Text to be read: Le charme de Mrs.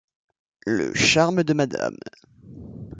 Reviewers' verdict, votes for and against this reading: rejected, 0, 2